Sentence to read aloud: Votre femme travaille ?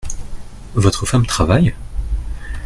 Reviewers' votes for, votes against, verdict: 2, 0, accepted